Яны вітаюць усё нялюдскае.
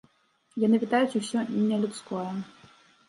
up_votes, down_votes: 0, 2